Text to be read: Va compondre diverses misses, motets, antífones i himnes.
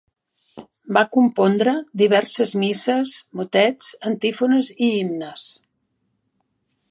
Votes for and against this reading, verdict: 3, 0, accepted